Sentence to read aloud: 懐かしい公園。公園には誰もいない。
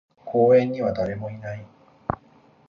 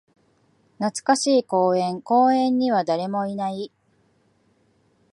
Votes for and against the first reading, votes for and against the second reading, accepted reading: 0, 2, 2, 0, second